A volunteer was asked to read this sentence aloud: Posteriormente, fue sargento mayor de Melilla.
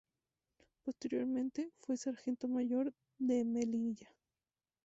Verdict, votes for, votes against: accepted, 2, 0